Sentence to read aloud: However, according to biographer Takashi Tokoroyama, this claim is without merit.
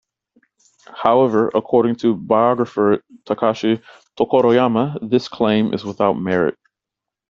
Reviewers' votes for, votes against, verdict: 2, 0, accepted